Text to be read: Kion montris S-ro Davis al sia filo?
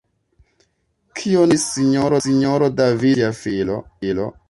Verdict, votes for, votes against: rejected, 1, 2